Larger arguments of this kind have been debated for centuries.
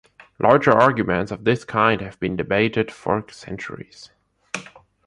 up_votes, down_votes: 2, 0